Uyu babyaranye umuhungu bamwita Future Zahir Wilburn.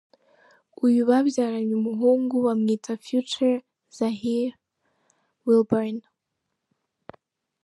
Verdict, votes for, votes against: accepted, 2, 0